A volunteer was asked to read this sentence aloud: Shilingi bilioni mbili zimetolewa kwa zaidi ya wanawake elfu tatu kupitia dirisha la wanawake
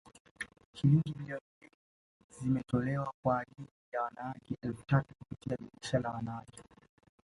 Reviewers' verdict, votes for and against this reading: rejected, 0, 2